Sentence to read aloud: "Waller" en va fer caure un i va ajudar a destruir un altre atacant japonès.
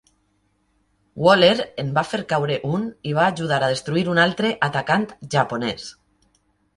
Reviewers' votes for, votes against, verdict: 3, 0, accepted